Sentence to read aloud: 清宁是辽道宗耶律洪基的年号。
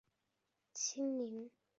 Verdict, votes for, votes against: rejected, 1, 5